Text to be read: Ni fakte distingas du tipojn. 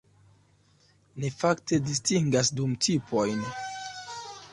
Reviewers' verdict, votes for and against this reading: rejected, 0, 2